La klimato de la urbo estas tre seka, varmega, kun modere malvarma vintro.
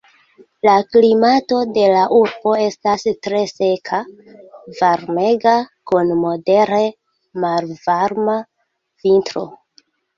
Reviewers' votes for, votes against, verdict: 2, 0, accepted